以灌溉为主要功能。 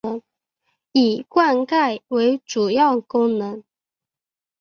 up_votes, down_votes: 2, 1